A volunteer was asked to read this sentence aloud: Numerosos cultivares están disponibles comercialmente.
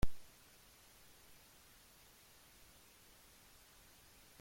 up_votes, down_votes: 1, 2